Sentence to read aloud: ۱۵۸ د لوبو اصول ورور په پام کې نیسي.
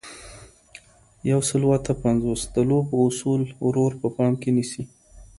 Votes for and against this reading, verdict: 0, 2, rejected